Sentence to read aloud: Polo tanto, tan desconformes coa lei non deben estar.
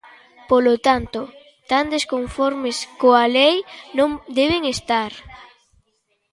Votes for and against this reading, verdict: 2, 0, accepted